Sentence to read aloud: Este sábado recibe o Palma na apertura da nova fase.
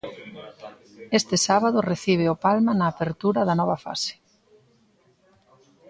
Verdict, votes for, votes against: accepted, 2, 0